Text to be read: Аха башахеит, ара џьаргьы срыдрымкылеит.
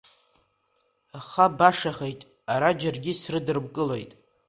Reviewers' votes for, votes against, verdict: 2, 1, accepted